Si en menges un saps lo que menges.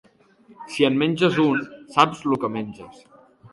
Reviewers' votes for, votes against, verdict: 2, 0, accepted